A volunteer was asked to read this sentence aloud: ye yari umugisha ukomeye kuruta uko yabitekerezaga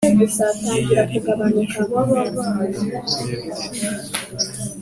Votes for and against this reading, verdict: 0, 2, rejected